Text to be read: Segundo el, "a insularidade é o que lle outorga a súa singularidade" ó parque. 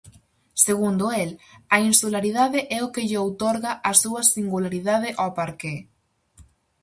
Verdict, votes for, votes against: rejected, 2, 2